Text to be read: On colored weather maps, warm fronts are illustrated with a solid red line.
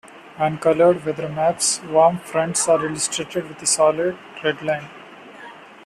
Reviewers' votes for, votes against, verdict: 2, 0, accepted